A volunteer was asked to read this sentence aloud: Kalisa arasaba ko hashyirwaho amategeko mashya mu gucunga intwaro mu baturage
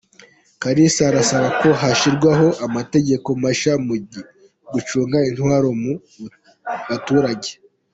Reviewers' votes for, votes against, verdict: 2, 0, accepted